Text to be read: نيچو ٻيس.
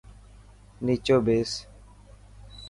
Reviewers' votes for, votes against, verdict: 2, 0, accepted